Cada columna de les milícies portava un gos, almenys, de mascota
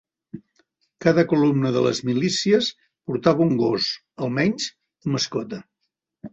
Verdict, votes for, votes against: rejected, 0, 2